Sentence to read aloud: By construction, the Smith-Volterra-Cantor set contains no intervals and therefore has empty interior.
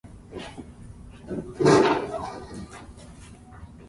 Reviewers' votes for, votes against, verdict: 0, 2, rejected